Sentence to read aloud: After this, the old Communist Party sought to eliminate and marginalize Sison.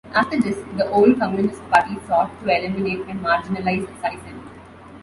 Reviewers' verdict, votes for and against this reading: rejected, 0, 2